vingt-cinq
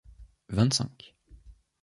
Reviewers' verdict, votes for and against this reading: accepted, 2, 0